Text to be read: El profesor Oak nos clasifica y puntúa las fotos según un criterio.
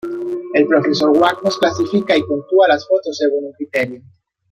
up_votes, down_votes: 1, 2